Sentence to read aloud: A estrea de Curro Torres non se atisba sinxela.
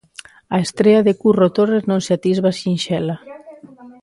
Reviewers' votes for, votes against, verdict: 2, 0, accepted